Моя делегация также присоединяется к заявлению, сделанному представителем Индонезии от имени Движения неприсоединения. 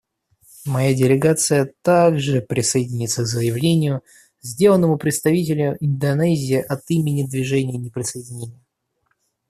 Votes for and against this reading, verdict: 0, 2, rejected